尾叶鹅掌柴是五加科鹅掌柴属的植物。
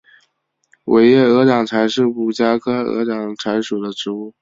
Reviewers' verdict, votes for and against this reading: accepted, 3, 0